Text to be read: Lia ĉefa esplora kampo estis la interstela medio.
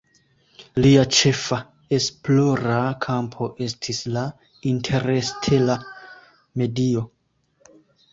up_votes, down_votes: 0, 2